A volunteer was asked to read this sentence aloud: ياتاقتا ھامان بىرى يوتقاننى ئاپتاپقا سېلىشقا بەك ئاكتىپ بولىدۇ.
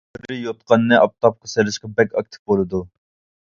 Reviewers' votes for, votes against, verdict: 0, 2, rejected